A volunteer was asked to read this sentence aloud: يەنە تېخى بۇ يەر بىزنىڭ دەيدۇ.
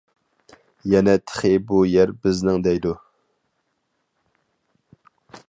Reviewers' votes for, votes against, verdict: 4, 0, accepted